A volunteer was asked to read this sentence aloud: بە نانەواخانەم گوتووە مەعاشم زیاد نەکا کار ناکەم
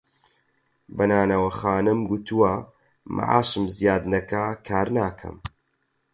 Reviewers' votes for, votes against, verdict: 4, 0, accepted